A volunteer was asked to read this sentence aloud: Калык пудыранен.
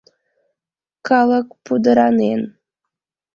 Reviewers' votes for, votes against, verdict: 2, 0, accepted